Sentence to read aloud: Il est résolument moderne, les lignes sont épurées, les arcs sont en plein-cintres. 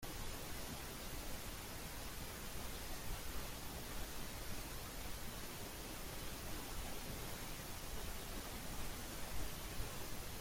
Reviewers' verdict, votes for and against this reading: rejected, 0, 2